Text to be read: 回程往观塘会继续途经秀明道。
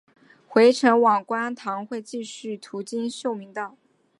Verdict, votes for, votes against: accepted, 2, 0